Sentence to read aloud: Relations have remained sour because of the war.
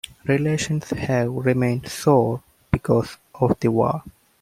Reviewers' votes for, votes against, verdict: 2, 0, accepted